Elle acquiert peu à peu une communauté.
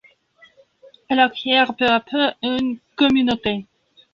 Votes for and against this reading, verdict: 1, 2, rejected